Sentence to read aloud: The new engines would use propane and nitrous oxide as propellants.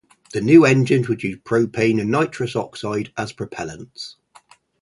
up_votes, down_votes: 4, 0